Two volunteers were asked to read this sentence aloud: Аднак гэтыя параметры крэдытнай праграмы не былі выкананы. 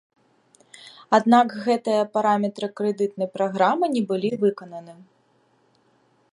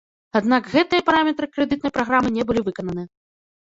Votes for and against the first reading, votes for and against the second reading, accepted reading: 2, 0, 1, 2, first